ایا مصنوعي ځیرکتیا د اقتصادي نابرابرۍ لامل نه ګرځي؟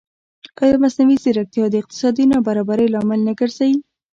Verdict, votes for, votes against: accepted, 2, 0